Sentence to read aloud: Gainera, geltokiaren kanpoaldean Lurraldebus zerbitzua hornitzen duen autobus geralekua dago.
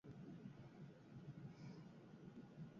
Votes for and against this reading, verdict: 0, 4, rejected